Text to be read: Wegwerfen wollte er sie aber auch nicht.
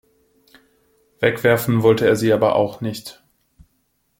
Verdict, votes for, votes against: accepted, 2, 0